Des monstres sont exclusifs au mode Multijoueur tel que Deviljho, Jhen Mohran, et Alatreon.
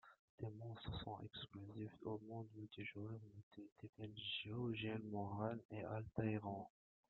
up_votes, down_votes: 0, 2